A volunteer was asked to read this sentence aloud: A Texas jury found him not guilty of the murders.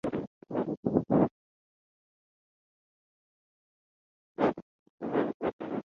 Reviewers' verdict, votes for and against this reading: rejected, 0, 4